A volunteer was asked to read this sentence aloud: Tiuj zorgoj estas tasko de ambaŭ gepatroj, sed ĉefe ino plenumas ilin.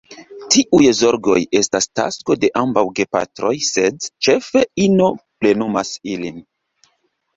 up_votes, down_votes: 1, 2